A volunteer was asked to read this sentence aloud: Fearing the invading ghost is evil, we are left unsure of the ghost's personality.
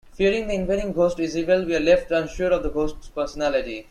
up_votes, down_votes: 1, 2